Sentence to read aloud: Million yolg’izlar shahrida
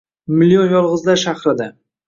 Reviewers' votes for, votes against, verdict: 2, 0, accepted